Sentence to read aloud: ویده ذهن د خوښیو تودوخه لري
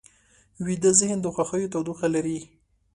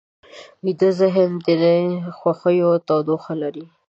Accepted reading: first